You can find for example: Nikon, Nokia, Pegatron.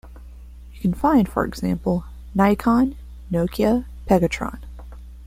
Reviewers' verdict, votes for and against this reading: rejected, 0, 2